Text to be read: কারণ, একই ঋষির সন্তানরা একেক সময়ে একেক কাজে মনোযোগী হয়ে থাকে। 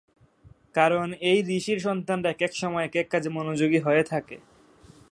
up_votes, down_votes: 0, 2